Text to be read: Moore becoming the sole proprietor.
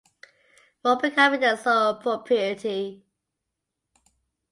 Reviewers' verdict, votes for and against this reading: rejected, 0, 2